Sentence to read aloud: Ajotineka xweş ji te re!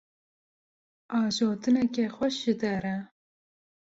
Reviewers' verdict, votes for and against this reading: rejected, 0, 2